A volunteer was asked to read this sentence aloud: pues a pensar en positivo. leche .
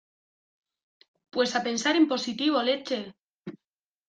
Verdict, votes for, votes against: rejected, 1, 2